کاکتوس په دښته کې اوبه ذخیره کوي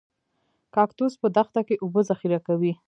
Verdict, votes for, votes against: accepted, 2, 0